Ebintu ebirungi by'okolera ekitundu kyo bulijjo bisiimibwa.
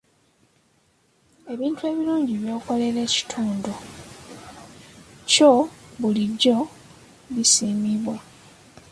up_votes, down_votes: 2, 1